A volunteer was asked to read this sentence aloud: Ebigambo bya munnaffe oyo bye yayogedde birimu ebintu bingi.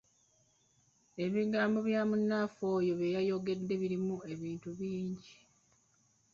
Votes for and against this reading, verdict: 0, 2, rejected